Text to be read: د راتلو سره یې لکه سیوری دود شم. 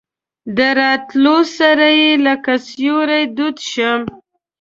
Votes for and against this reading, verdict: 2, 0, accepted